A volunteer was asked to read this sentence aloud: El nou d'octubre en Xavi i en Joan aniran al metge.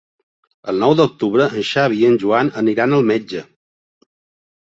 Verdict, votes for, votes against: accepted, 3, 0